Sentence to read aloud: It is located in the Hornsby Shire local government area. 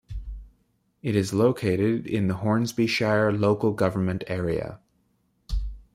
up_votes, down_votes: 2, 0